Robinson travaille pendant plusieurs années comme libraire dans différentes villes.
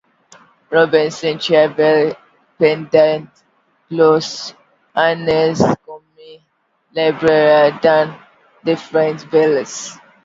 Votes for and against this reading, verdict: 0, 2, rejected